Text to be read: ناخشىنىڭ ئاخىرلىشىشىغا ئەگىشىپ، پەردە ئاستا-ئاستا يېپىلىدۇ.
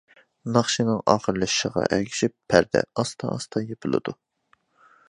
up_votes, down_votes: 2, 0